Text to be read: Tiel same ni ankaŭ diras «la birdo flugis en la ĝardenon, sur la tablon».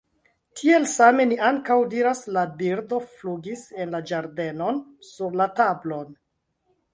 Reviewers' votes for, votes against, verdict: 1, 2, rejected